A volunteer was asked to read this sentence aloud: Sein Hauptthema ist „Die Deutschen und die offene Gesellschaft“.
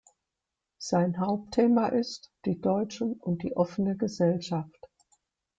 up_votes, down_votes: 2, 0